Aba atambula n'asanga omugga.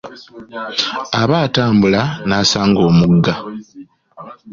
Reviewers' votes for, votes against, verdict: 2, 0, accepted